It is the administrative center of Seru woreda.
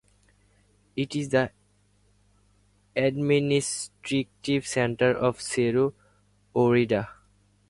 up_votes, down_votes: 0, 4